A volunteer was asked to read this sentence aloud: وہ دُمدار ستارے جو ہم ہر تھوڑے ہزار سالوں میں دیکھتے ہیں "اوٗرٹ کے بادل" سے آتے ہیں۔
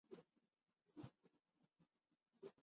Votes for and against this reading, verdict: 0, 2, rejected